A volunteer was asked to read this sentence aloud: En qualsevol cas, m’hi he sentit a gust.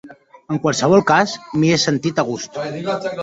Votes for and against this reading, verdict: 0, 2, rejected